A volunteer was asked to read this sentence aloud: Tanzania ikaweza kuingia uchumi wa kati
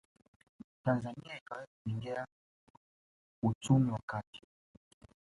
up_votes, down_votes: 1, 2